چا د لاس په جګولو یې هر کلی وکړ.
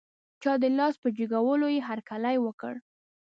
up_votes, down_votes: 2, 0